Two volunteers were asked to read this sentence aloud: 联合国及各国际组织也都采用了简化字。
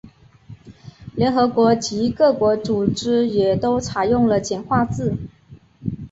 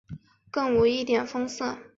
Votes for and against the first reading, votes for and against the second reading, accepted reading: 2, 0, 0, 3, first